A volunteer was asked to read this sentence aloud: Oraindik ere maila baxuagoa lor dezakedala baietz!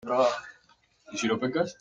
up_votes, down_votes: 0, 2